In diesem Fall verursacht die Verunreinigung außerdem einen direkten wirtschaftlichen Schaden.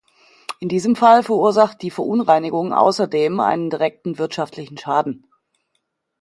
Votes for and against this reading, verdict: 2, 0, accepted